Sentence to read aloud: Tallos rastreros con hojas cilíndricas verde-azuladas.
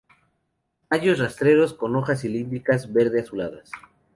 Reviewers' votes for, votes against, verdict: 2, 0, accepted